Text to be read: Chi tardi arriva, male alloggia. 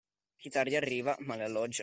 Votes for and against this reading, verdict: 2, 1, accepted